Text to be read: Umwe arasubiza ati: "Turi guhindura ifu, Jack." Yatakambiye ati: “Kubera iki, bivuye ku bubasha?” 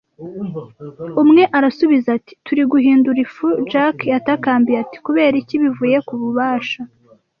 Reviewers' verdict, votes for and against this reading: accepted, 2, 0